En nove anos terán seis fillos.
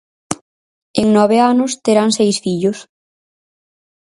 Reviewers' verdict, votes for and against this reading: accepted, 4, 0